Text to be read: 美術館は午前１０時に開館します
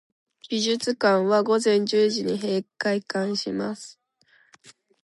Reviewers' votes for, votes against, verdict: 0, 2, rejected